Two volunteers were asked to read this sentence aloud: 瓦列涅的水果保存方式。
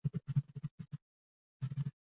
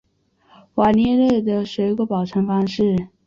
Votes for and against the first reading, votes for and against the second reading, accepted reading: 0, 3, 3, 0, second